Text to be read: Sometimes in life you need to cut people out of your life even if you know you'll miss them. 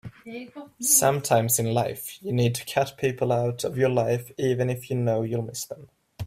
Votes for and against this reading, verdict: 3, 0, accepted